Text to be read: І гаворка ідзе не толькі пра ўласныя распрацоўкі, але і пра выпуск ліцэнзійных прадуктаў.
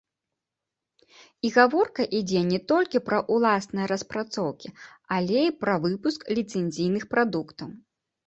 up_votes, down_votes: 0, 2